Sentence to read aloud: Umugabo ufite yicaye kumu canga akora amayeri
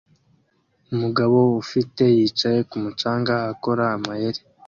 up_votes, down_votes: 2, 0